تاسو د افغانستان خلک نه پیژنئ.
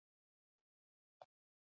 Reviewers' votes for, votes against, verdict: 2, 0, accepted